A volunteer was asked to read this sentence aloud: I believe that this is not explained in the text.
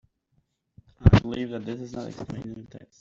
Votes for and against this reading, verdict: 0, 2, rejected